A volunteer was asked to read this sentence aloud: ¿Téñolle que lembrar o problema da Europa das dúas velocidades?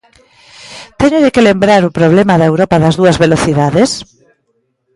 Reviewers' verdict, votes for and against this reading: accepted, 2, 0